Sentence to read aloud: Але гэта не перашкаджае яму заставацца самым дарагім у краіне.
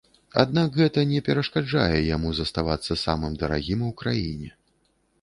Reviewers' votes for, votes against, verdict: 1, 2, rejected